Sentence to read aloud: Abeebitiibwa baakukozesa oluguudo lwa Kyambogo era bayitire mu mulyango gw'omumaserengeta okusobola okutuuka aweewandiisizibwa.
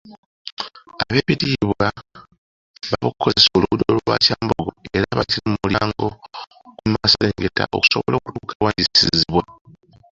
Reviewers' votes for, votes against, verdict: 0, 2, rejected